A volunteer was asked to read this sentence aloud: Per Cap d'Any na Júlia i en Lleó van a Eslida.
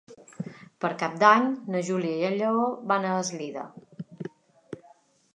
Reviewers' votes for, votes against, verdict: 3, 0, accepted